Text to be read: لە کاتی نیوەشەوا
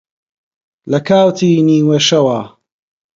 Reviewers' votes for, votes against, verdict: 2, 0, accepted